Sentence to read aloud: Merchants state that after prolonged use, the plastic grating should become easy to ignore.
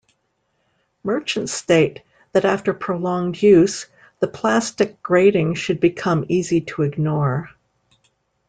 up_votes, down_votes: 2, 0